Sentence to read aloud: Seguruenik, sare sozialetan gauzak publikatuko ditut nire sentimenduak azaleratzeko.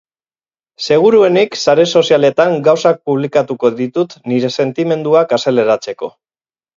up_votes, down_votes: 4, 0